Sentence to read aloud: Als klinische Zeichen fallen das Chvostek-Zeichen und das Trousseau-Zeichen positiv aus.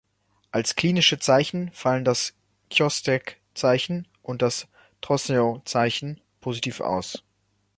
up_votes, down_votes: 0, 2